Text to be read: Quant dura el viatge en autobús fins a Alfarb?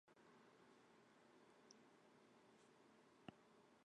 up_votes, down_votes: 0, 2